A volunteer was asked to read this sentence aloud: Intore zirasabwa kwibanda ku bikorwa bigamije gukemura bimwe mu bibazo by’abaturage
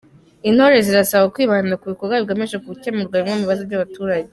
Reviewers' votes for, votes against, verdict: 2, 0, accepted